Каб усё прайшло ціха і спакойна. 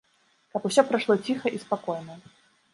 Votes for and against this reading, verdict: 2, 0, accepted